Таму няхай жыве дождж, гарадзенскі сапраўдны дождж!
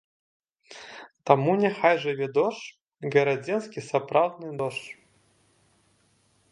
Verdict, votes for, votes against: accepted, 2, 0